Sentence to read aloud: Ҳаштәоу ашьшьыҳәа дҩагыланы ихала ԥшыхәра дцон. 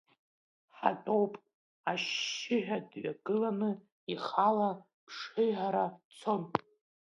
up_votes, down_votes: 0, 3